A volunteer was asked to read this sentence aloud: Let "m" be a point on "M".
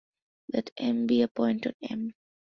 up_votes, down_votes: 2, 0